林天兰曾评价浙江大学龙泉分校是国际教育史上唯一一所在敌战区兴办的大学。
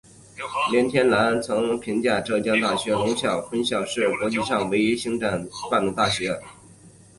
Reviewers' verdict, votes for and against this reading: rejected, 1, 4